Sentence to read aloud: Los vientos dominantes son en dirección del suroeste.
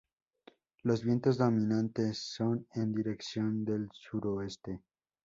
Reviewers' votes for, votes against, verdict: 2, 0, accepted